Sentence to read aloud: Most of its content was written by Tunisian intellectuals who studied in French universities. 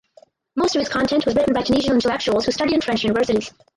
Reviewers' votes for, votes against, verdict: 0, 4, rejected